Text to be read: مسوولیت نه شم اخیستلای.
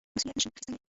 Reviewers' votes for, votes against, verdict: 1, 2, rejected